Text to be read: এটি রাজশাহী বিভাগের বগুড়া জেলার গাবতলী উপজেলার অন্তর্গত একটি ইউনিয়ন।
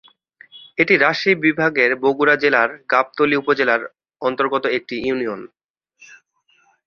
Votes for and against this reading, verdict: 2, 0, accepted